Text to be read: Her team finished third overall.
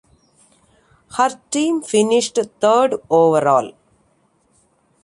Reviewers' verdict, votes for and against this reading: accepted, 2, 1